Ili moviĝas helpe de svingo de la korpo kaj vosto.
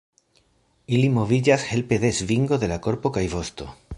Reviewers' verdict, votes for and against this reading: accepted, 3, 0